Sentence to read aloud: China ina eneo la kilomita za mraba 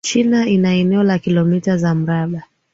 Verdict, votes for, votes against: rejected, 0, 2